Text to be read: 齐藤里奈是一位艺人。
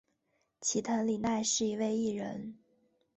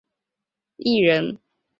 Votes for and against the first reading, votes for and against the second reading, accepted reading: 3, 1, 0, 6, first